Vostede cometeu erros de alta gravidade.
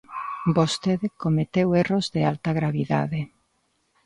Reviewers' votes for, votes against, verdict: 3, 1, accepted